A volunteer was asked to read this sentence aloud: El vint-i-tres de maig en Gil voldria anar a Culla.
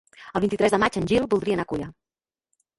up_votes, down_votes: 0, 2